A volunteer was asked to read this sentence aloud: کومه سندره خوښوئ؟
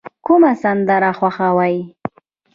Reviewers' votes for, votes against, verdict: 2, 0, accepted